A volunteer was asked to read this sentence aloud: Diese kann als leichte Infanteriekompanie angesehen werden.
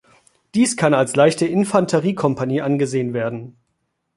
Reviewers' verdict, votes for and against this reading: rejected, 1, 3